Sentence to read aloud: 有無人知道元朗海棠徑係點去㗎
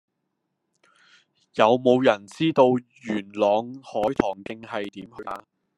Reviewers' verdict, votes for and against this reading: rejected, 1, 2